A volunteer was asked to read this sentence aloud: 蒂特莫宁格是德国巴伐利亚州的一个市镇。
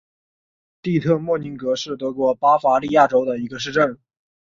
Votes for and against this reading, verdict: 5, 1, accepted